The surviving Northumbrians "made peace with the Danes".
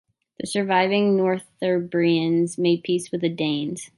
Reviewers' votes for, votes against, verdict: 1, 2, rejected